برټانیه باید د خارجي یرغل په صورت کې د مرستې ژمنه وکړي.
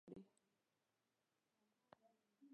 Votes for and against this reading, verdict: 1, 2, rejected